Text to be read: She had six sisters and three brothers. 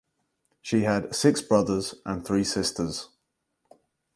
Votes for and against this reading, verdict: 0, 4, rejected